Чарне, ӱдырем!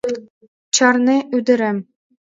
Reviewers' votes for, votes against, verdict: 2, 0, accepted